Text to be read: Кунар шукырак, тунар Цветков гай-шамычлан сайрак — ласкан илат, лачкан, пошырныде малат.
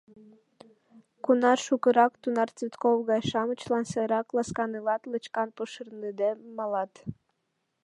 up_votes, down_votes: 1, 2